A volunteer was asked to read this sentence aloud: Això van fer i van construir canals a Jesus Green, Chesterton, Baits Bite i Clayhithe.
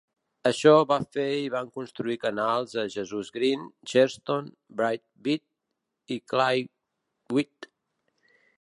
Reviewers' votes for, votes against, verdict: 0, 2, rejected